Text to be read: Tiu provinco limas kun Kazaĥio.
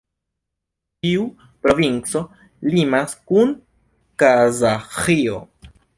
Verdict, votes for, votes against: accepted, 2, 0